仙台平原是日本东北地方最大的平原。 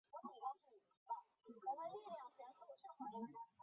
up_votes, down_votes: 0, 2